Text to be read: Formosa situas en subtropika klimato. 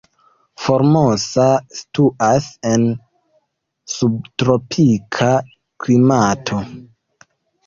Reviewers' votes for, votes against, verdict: 2, 1, accepted